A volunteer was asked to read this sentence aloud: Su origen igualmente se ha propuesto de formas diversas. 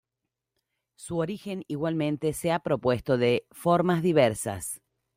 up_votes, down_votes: 2, 0